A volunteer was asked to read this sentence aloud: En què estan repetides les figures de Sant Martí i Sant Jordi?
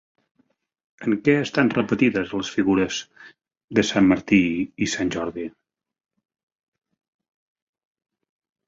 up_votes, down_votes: 4, 0